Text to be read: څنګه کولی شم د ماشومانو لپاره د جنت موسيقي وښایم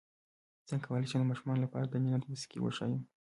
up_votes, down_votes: 0, 2